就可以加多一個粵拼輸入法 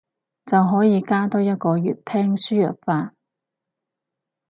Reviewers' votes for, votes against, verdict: 4, 0, accepted